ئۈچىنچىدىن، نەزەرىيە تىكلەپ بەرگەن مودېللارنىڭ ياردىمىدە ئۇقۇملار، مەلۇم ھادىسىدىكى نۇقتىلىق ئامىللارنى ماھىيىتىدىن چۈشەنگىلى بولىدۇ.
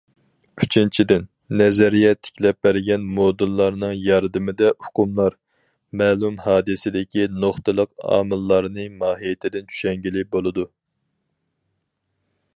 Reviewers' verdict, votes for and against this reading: accepted, 4, 0